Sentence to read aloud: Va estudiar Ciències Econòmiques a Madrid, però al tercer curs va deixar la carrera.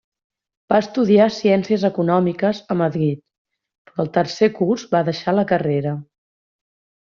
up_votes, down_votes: 1, 2